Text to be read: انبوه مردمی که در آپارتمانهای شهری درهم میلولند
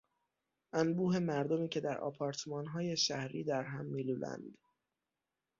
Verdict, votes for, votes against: accepted, 6, 0